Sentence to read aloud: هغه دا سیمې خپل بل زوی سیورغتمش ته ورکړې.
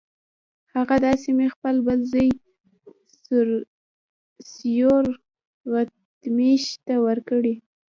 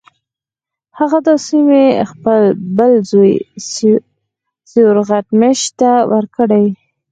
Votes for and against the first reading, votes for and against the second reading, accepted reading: 1, 2, 4, 0, second